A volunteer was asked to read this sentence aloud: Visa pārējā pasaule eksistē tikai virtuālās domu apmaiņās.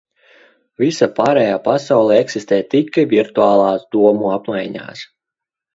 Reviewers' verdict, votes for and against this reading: rejected, 1, 2